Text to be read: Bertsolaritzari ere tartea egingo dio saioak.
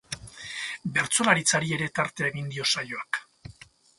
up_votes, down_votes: 2, 0